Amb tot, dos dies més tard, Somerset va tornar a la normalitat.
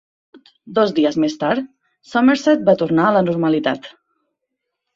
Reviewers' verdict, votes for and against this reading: rejected, 1, 2